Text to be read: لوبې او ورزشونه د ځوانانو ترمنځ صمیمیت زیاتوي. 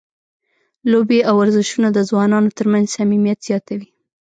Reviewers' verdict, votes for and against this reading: accepted, 2, 0